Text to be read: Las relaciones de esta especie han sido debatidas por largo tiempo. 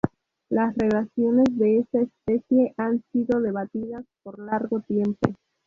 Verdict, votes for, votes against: rejected, 0, 2